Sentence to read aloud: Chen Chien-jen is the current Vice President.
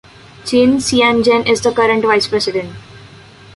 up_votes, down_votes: 2, 0